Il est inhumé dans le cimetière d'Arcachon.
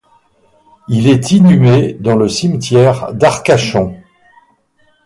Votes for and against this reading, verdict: 2, 2, rejected